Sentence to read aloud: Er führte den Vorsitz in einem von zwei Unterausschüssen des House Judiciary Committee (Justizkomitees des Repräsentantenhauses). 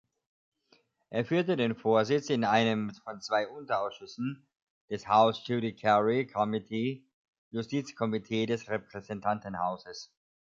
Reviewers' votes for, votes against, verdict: 0, 2, rejected